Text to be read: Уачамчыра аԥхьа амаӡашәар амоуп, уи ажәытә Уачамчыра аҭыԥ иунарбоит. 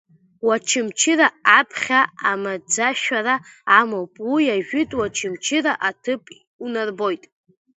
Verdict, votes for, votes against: rejected, 0, 2